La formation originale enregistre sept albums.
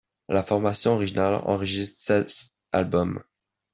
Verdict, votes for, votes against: rejected, 1, 2